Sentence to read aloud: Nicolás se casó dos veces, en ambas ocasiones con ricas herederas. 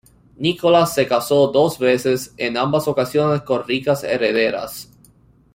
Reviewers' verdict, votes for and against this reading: accepted, 2, 1